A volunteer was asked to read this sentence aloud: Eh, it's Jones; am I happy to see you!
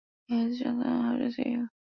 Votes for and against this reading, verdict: 0, 2, rejected